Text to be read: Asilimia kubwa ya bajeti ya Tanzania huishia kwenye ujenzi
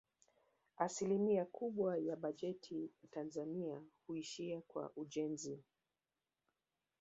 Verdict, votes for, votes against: rejected, 1, 2